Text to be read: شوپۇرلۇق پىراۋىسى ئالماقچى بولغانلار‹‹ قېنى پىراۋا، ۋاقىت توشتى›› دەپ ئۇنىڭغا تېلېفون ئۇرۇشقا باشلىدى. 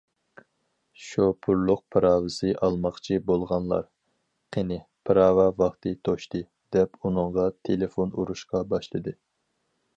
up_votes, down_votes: 0, 4